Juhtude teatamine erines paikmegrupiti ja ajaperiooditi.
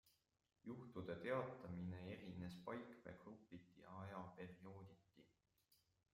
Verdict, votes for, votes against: rejected, 0, 2